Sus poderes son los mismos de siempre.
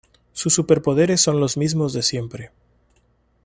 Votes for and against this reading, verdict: 0, 3, rejected